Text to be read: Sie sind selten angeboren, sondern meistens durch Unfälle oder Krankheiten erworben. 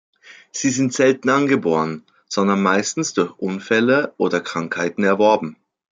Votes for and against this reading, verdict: 2, 0, accepted